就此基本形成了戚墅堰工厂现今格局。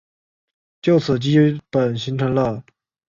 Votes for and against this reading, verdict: 0, 3, rejected